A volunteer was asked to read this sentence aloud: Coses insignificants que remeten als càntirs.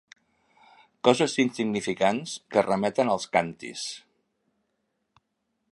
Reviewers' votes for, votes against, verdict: 2, 1, accepted